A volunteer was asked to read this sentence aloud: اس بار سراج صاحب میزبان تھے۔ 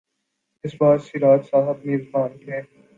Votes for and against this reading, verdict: 5, 0, accepted